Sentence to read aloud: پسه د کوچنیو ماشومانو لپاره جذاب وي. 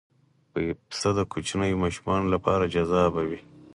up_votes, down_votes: 2, 4